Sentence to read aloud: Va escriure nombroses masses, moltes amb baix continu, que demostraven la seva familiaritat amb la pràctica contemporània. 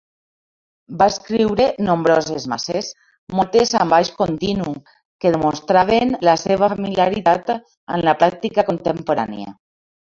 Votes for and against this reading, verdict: 0, 2, rejected